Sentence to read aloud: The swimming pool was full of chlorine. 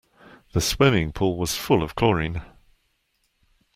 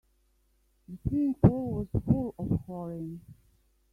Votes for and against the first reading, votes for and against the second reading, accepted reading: 2, 0, 1, 3, first